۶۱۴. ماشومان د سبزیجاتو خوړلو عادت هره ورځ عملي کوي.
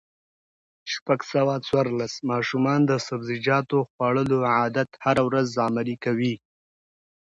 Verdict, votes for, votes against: rejected, 0, 2